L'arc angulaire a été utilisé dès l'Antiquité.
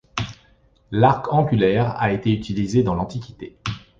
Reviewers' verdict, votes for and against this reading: rejected, 1, 2